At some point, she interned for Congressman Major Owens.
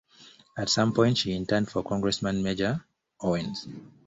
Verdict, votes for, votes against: accepted, 2, 1